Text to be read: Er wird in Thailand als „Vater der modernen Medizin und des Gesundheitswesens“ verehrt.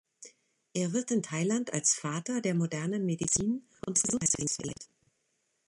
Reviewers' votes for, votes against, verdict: 1, 3, rejected